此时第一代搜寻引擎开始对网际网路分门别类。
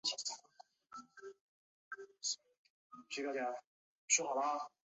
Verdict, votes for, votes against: rejected, 1, 3